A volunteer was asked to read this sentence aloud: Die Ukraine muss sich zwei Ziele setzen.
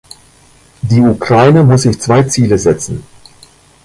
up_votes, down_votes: 1, 2